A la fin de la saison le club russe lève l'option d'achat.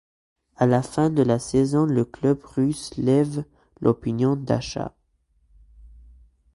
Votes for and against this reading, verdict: 1, 3, rejected